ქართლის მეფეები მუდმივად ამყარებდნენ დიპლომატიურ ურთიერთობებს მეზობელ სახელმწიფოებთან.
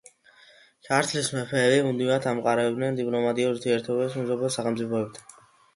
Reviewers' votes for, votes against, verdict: 2, 0, accepted